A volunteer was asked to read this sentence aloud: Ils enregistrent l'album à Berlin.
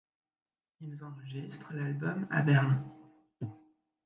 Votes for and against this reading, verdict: 0, 2, rejected